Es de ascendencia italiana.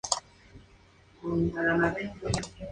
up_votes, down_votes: 0, 2